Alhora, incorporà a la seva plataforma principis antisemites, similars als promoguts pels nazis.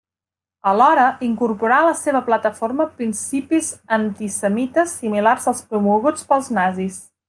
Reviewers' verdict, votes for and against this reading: accepted, 3, 0